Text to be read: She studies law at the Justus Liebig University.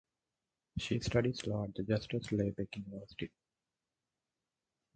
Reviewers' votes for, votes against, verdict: 4, 0, accepted